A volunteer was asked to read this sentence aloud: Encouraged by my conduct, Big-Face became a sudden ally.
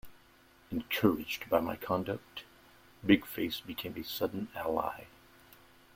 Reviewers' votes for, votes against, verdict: 2, 0, accepted